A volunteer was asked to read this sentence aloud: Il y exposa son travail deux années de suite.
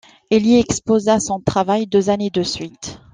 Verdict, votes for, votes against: accepted, 2, 0